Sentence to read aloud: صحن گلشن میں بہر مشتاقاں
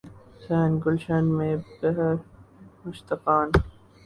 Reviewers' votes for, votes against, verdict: 0, 2, rejected